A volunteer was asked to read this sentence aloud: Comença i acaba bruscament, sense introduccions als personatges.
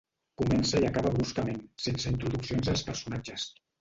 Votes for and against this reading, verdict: 1, 2, rejected